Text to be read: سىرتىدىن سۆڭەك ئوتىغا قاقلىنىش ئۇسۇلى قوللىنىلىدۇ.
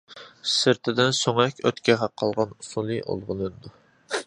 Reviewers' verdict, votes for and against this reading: rejected, 0, 2